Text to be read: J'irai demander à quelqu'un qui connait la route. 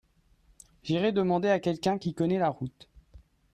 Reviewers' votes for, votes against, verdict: 2, 0, accepted